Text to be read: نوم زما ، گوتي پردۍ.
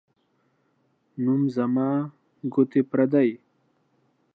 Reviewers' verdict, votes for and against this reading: accepted, 2, 0